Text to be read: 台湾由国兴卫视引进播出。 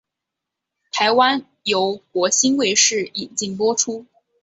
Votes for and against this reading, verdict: 6, 1, accepted